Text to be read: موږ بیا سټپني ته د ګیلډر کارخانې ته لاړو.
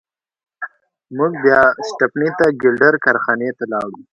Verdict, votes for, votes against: accepted, 2, 1